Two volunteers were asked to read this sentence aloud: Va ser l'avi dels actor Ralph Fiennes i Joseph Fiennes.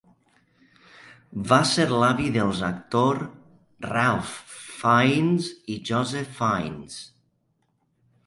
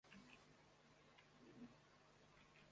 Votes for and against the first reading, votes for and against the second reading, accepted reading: 2, 0, 0, 2, first